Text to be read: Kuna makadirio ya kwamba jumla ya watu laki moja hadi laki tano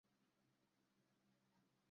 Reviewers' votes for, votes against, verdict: 0, 2, rejected